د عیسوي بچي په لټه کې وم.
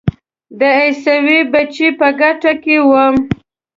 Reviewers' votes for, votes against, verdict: 1, 2, rejected